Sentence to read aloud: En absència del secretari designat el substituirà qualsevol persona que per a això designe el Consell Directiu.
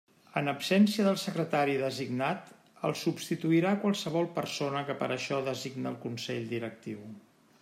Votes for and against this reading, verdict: 1, 2, rejected